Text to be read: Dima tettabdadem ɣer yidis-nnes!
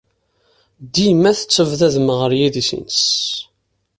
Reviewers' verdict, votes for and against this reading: accepted, 2, 1